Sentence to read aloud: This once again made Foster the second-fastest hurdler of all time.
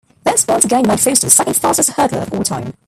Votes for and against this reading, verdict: 0, 2, rejected